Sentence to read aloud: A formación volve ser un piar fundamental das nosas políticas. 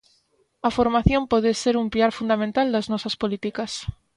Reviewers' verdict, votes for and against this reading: rejected, 0, 2